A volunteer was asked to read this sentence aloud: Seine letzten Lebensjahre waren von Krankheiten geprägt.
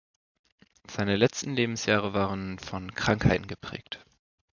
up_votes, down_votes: 2, 0